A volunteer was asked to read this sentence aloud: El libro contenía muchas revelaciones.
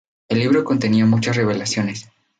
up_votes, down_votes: 2, 2